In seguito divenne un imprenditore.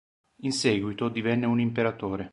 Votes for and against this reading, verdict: 0, 2, rejected